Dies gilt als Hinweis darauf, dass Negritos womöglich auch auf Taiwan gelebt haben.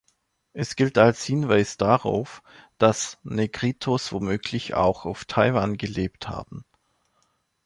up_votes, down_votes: 1, 2